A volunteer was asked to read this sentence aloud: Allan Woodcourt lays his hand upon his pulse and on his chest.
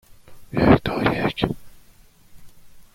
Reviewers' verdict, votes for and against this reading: rejected, 0, 2